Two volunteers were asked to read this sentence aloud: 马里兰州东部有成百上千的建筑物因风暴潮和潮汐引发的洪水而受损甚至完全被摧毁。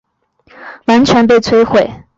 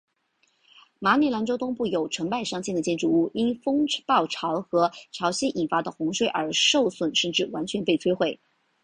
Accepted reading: second